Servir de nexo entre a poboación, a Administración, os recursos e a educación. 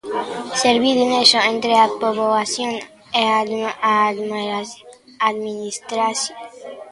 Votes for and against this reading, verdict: 0, 2, rejected